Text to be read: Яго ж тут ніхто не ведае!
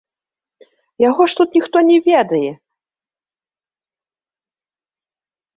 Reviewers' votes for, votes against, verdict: 2, 0, accepted